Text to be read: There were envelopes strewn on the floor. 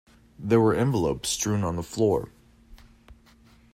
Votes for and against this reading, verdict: 2, 0, accepted